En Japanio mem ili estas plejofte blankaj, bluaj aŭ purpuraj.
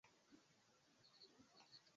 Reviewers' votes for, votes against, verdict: 1, 2, rejected